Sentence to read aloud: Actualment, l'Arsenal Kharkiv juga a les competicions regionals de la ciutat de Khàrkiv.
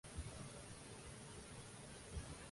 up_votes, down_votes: 0, 2